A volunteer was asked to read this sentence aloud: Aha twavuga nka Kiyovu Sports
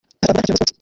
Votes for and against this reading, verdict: 0, 2, rejected